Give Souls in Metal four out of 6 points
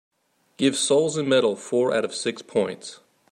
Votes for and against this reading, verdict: 0, 2, rejected